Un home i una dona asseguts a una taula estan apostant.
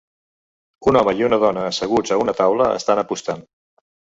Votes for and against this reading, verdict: 3, 1, accepted